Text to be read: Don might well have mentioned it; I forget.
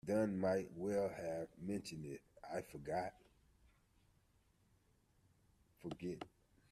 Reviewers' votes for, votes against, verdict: 0, 2, rejected